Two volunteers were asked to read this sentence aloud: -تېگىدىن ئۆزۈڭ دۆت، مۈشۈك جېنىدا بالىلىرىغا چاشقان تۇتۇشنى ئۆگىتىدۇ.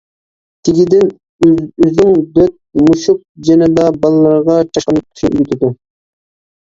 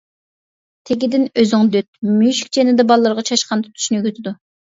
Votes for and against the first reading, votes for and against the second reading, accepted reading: 0, 2, 2, 0, second